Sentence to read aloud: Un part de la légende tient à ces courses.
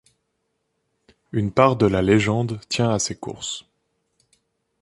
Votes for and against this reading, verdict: 1, 2, rejected